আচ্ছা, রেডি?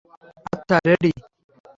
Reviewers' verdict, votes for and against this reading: rejected, 0, 3